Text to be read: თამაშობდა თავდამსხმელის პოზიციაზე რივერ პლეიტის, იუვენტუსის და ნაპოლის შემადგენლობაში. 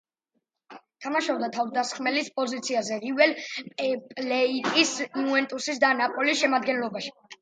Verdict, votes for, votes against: accepted, 2, 0